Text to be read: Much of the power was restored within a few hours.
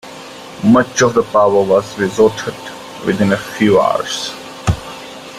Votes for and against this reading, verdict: 0, 2, rejected